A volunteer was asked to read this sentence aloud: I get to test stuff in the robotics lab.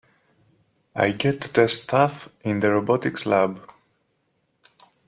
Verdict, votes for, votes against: rejected, 0, 2